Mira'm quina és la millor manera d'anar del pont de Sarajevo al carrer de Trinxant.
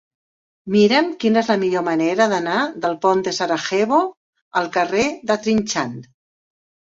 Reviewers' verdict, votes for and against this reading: rejected, 1, 2